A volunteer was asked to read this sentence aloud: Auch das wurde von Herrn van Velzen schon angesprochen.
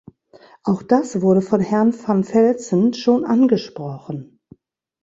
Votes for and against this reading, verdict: 3, 0, accepted